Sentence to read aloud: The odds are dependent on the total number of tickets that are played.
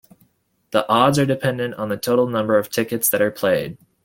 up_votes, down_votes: 2, 0